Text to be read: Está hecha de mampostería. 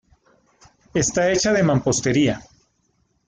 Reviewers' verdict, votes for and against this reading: accepted, 2, 0